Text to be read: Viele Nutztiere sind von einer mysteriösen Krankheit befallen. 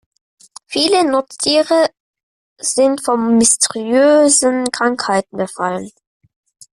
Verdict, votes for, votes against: rejected, 0, 2